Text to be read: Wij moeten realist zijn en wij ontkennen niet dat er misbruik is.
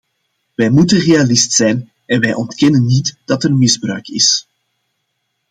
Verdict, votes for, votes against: accepted, 2, 0